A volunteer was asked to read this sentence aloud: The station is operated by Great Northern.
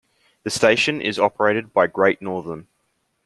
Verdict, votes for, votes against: accepted, 2, 0